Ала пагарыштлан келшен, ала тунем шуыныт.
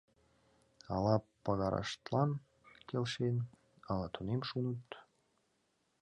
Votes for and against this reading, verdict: 1, 2, rejected